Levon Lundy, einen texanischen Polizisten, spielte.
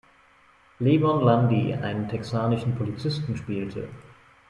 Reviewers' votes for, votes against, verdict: 2, 0, accepted